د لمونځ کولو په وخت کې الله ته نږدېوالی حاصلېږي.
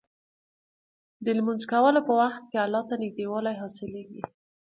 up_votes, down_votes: 3, 0